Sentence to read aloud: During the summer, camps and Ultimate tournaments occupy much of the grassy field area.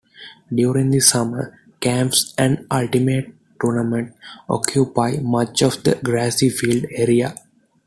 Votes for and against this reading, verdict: 2, 0, accepted